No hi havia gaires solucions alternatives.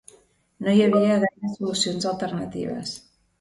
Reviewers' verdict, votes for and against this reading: rejected, 1, 2